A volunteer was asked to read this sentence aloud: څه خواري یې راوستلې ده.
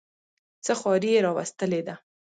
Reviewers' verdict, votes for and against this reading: accepted, 2, 1